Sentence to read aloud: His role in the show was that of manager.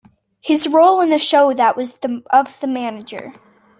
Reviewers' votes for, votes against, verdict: 0, 2, rejected